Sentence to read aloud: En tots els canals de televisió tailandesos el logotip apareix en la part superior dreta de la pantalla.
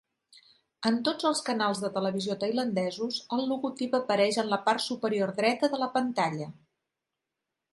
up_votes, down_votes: 3, 0